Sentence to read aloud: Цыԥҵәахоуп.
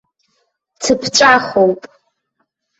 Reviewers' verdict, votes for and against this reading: accepted, 2, 1